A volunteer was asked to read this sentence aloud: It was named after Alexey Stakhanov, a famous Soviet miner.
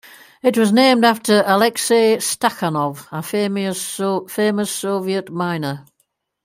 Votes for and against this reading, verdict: 1, 2, rejected